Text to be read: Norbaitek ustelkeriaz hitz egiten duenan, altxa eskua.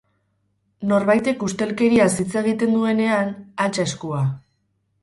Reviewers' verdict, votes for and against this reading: accepted, 2, 0